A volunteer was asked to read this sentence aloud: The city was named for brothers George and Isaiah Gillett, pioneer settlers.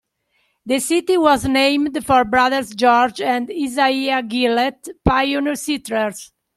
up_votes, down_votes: 2, 0